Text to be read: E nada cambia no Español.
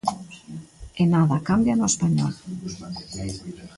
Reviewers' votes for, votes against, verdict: 2, 0, accepted